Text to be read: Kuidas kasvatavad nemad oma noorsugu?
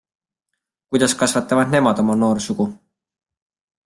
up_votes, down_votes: 2, 0